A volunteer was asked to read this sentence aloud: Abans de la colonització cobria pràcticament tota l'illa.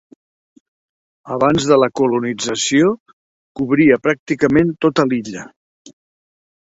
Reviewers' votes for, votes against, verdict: 2, 0, accepted